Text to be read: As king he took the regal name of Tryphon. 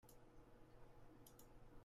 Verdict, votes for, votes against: rejected, 0, 2